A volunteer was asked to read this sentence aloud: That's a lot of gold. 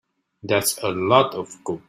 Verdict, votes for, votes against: rejected, 1, 2